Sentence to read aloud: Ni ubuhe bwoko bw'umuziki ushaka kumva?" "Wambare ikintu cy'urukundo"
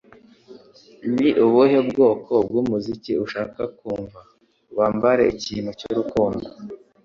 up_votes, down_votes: 2, 0